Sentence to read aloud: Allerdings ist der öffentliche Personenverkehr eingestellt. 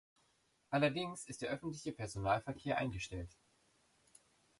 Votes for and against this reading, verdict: 0, 2, rejected